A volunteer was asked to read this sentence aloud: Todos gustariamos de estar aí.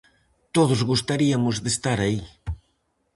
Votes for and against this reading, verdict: 0, 4, rejected